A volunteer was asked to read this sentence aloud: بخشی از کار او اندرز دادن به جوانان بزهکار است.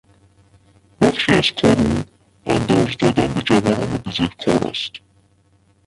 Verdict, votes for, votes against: rejected, 1, 2